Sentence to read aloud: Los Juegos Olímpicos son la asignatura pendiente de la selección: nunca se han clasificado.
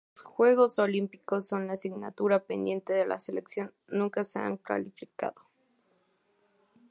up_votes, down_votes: 2, 0